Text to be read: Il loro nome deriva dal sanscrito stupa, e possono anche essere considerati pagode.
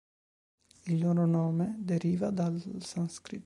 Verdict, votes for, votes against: rejected, 0, 2